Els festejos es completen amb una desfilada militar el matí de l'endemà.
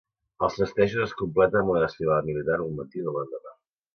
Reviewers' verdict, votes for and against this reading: rejected, 1, 2